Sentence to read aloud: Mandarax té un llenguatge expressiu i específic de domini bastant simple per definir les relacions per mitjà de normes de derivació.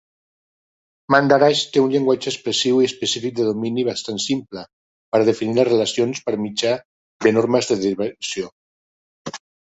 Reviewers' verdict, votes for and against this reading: rejected, 1, 2